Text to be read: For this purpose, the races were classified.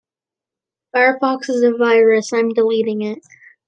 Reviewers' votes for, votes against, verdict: 0, 2, rejected